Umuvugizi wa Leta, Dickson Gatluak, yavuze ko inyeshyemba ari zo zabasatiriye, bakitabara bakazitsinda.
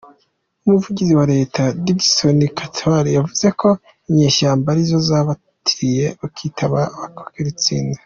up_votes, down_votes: 0, 2